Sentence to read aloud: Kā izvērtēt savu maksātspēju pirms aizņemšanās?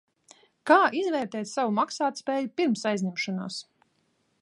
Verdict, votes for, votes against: accepted, 2, 0